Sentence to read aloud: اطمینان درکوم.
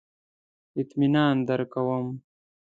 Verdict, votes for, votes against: accepted, 2, 0